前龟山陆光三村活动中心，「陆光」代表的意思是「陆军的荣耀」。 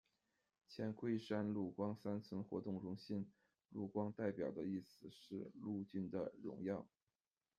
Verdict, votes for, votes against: rejected, 0, 2